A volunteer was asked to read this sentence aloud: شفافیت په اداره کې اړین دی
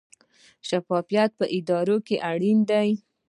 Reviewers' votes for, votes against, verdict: 1, 2, rejected